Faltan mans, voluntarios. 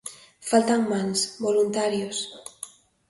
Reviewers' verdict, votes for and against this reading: accepted, 2, 0